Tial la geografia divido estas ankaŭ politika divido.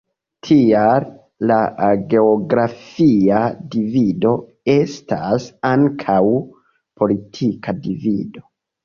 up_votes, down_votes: 2, 0